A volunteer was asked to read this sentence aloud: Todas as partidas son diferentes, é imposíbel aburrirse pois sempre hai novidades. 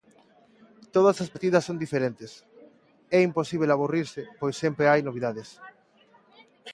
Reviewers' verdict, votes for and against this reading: accepted, 2, 0